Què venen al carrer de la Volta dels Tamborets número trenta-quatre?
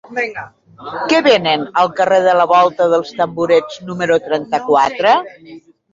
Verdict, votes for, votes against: rejected, 0, 2